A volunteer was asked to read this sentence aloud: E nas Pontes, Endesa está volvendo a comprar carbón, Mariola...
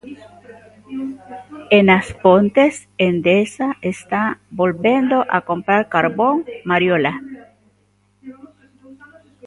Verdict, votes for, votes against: rejected, 0, 2